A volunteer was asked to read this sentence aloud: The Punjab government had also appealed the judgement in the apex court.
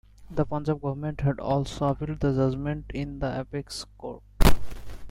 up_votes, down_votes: 0, 2